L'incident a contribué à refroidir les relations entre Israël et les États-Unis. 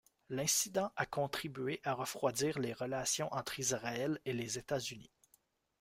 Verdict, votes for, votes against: accepted, 2, 1